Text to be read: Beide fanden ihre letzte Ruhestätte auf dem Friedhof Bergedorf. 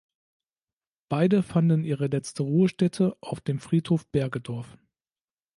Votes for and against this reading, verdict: 2, 0, accepted